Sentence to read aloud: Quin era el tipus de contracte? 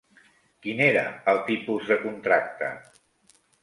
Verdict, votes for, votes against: accepted, 3, 0